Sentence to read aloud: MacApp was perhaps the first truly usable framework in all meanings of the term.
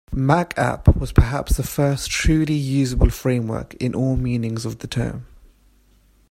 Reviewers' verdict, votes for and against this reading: accepted, 2, 0